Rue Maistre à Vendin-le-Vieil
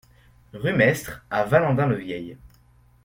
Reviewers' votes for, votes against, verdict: 0, 2, rejected